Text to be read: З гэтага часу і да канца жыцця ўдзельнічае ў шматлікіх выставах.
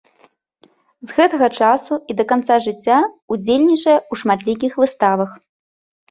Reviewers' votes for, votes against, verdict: 2, 0, accepted